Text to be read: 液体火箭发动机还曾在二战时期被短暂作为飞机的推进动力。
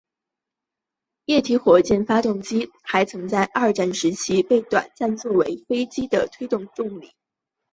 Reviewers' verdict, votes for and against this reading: accepted, 2, 0